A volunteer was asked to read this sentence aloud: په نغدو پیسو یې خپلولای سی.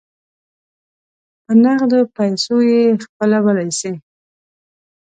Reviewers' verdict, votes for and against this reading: accepted, 2, 0